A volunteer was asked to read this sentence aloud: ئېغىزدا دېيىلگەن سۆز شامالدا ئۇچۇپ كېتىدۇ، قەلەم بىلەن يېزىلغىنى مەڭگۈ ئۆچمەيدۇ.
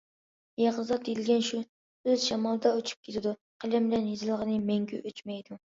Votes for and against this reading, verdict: 0, 2, rejected